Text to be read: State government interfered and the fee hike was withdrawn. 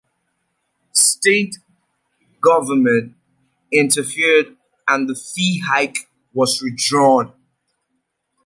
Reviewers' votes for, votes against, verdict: 2, 0, accepted